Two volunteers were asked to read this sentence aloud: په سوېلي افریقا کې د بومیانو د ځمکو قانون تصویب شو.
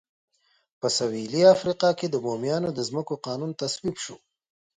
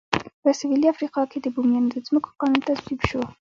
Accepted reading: first